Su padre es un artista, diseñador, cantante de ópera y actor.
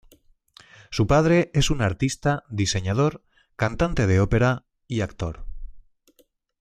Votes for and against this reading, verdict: 2, 0, accepted